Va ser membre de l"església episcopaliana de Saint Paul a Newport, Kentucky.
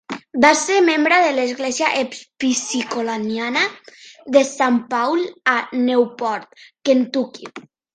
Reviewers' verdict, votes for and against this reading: rejected, 1, 2